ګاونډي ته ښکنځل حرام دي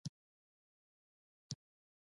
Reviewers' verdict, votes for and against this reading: rejected, 1, 2